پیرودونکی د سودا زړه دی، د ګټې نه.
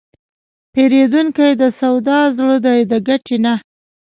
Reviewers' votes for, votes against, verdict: 3, 0, accepted